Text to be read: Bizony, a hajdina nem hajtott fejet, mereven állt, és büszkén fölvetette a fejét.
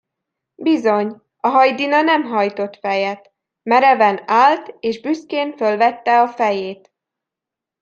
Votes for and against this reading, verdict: 0, 2, rejected